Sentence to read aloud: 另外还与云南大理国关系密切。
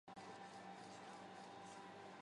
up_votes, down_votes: 0, 2